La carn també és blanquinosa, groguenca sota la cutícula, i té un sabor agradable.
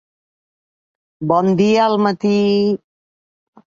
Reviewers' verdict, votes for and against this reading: rejected, 0, 2